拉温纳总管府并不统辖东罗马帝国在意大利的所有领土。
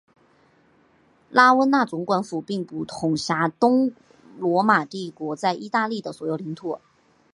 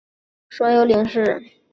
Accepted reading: first